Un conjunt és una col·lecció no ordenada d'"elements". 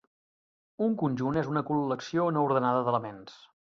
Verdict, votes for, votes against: rejected, 0, 2